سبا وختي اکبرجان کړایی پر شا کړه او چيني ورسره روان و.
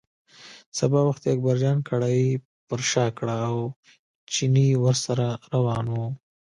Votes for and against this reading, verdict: 2, 0, accepted